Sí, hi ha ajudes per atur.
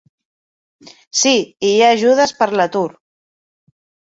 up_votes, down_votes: 1, 2